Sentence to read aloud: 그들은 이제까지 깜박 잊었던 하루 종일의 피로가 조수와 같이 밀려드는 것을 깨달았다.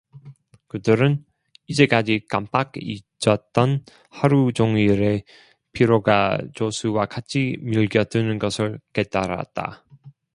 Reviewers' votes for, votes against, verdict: 0, 2, rejected